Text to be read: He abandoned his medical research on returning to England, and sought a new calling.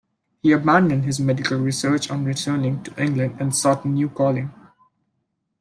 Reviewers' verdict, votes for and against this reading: accepted, 2, 0